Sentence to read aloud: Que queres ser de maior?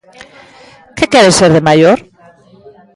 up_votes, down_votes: 2, 0